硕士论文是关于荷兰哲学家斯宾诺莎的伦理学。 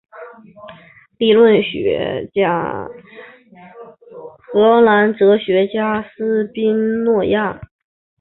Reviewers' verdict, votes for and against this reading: rejected, 1, 2